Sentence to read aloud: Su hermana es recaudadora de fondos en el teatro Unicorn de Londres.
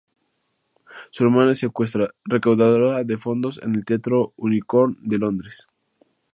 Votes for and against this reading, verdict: 0, 2, rejected